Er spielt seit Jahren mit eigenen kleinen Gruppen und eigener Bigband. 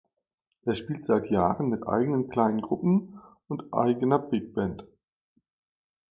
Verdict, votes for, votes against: accepted, 2, 0